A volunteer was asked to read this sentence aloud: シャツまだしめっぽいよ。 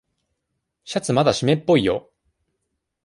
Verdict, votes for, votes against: accepted, 2, 0